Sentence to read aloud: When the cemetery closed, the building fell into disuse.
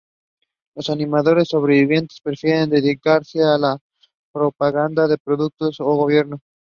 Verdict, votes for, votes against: rejected, 0, 2